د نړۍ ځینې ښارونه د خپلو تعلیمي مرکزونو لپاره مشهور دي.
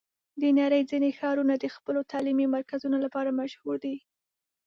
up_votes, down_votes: 2, 0